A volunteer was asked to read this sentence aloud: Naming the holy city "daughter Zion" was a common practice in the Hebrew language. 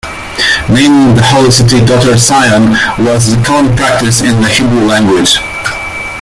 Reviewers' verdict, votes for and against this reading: rejected, 0, 2